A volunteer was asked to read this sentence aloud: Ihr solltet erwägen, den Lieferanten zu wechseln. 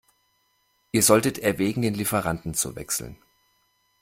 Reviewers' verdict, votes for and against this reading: accepted, 2, 0